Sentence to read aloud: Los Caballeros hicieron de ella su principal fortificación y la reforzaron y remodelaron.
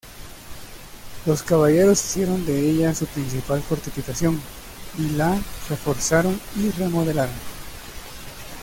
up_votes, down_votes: 2, 0